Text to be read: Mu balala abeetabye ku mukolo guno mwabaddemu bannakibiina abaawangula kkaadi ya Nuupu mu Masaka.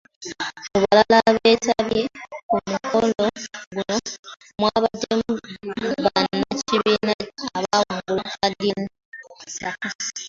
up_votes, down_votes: 0, 2